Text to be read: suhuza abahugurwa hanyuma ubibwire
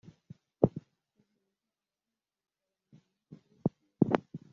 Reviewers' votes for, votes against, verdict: 0, 2, rejected